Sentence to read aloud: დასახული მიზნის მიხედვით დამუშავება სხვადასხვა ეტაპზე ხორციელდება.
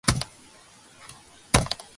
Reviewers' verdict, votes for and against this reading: rejected, 0, 2